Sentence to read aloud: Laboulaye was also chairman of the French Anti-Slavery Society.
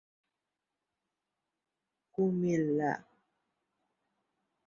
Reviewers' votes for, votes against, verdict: 0, 2, rejected